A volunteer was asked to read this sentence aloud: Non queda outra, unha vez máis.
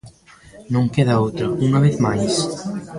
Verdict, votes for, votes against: rejected, 1, 2